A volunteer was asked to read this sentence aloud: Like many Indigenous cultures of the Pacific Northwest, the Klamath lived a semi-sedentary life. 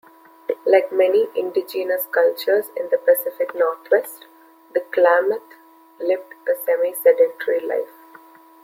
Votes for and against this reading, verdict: 0, 2, rejected